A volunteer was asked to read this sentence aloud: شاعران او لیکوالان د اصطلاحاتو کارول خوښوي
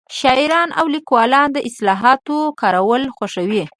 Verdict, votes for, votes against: accepted, 2, 1